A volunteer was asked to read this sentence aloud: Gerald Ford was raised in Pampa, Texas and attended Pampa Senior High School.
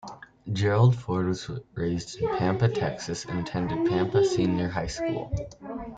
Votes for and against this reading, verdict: 2, 0, accepted